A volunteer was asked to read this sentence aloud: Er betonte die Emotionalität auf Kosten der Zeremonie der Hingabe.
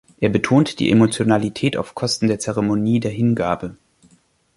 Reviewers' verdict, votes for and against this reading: accepted, 2, 1